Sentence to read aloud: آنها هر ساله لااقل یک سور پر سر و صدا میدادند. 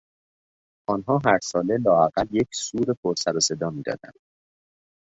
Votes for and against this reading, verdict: 2, 0, accepted